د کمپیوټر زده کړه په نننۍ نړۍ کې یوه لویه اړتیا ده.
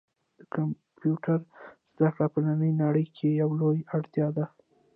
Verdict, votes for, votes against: rejected, 1, 2